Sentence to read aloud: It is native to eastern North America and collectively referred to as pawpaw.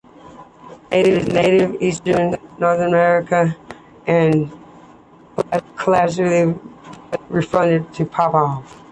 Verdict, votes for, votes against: accepted, 2, 0